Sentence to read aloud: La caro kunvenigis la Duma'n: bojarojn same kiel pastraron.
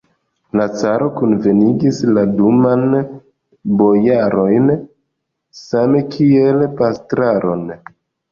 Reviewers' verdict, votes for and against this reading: rejected, 0, 2